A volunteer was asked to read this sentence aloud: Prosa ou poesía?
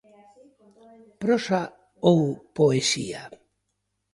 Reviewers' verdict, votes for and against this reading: accepted, 2, 0